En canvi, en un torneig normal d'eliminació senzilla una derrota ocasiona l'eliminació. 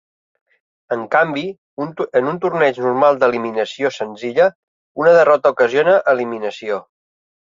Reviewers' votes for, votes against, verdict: 1, 3, rejected